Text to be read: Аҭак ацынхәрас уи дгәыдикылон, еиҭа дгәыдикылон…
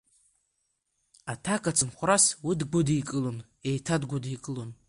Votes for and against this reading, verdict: 1, 2, rejected